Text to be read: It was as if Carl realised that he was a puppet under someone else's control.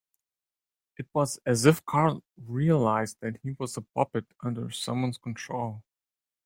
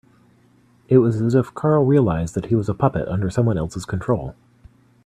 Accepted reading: second